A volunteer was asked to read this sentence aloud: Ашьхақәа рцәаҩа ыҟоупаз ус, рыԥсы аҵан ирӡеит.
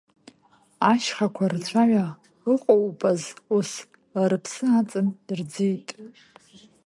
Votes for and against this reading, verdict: 2, 1, accepted